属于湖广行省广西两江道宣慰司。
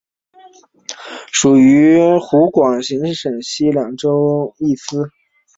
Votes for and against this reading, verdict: 6, 1, accepted